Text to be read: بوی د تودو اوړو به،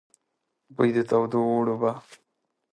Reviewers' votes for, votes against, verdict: 2, 0, accepted